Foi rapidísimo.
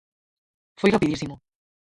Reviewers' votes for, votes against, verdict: 0, 4, rejected